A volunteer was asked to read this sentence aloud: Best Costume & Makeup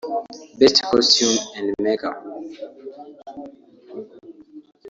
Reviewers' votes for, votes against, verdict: 1, 2, rejected